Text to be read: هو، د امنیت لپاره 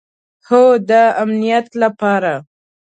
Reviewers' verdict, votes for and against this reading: accepted, 2, 0